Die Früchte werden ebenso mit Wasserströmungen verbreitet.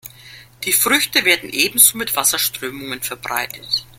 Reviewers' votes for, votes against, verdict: 1, 2, rejected